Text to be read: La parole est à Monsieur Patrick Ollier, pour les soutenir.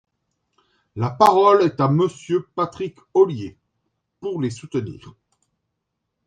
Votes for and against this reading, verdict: 2, 0, accepted